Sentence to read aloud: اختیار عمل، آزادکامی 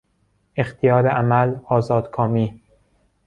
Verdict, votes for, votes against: accepted, 2, 0